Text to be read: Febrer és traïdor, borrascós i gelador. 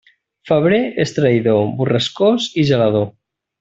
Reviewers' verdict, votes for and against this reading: accepted, 3, 0